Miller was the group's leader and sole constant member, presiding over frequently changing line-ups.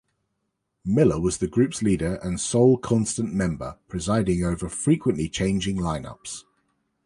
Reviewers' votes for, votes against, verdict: 2, 0, accepted